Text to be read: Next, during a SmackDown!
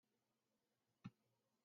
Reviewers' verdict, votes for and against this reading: rejected, 0, 2